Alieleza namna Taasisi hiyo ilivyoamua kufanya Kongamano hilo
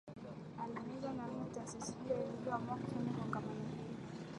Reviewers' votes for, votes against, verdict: 1, 2, rejected